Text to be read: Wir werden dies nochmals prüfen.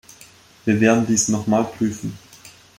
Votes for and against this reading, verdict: 0, 2, rejected